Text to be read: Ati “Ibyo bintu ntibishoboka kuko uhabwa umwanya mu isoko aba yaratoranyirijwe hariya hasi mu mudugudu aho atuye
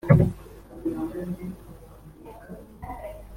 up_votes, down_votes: 0, 2